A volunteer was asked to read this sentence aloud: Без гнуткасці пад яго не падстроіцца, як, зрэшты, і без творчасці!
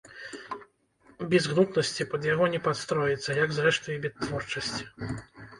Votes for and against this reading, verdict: 1, 2, rejected